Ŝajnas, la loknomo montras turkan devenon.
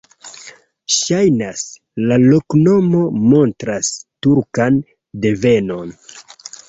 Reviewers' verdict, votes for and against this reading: accepted, 2, 0